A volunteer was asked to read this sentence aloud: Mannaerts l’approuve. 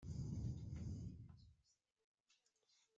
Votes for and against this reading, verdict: 0, 2, rejected